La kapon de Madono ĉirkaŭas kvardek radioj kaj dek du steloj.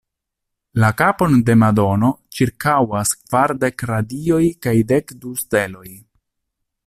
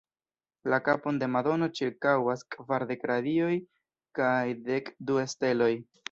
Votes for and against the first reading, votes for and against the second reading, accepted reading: 2, 0, 1, 2, first